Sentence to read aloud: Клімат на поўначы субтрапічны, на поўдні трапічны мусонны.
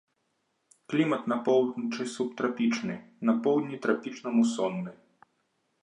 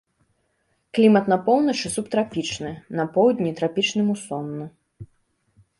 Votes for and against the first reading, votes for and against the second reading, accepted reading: 1, 2, 2, 0, second